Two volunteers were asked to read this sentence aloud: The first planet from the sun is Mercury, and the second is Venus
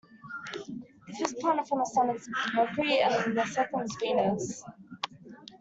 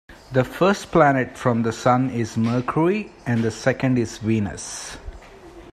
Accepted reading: second